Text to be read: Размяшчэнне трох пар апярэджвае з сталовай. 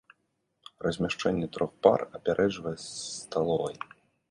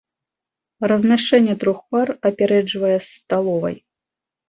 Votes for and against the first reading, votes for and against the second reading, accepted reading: 1, 2, 2, 0, second